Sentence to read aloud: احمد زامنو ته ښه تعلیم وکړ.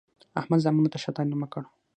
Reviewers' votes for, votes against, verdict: 6, 0, accepted